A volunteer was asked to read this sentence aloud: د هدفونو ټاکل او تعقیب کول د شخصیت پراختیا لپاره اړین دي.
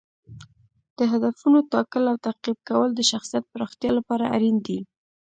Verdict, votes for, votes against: rejected, 0, 2